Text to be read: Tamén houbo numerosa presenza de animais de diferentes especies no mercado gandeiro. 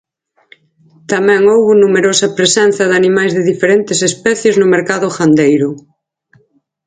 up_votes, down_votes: 6, 0